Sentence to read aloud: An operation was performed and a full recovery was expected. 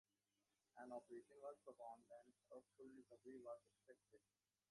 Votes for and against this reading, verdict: 0, 2, rejected